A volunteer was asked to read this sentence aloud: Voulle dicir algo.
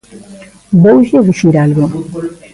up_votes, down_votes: 1, 2